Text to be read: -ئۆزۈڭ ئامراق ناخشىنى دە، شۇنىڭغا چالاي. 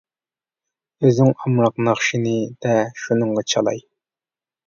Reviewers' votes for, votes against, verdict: 2, 0, accepted